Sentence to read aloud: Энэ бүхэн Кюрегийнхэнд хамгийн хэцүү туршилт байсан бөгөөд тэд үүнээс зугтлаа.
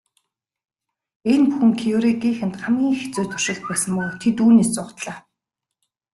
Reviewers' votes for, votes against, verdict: 2, 1, accepted